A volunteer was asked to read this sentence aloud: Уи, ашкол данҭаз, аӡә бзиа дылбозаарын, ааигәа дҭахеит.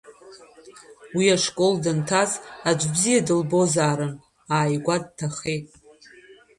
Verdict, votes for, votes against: accepted, 2, 0